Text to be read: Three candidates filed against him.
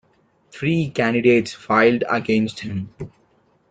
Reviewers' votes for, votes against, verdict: 1, 2, rejected